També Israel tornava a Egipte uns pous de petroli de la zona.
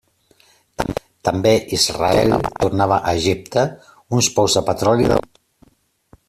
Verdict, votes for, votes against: rejected, 0, 2